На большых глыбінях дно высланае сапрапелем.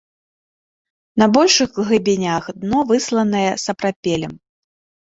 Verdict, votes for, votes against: rejected, 1, 2